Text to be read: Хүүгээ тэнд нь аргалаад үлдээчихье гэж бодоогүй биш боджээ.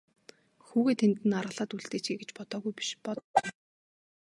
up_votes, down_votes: 0, 2